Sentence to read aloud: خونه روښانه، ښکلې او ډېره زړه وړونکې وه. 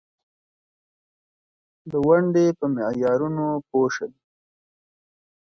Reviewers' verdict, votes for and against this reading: rejected, 1, 2